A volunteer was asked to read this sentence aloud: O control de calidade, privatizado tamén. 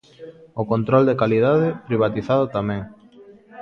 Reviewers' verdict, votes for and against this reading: rejected, 1, 2